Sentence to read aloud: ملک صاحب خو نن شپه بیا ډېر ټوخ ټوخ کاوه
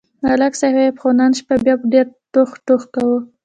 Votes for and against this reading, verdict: 1, 2, rejected